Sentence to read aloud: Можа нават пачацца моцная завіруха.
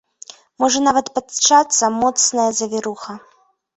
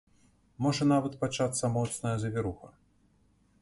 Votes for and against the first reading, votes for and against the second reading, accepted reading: 1, 2, 2, 0, second